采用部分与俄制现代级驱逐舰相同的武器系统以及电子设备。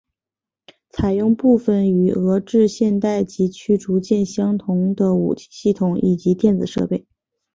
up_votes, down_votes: 5, 0